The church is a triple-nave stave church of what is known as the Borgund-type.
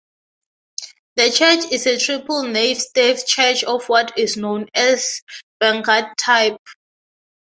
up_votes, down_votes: 0, 3